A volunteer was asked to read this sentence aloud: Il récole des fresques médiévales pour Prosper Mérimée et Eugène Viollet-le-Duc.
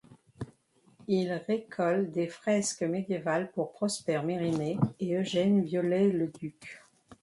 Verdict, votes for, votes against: rejected, 1, 2